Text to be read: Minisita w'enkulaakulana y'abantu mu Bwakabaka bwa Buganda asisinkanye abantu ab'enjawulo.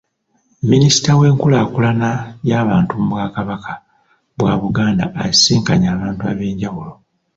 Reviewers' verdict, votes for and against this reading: accepted, 2, 0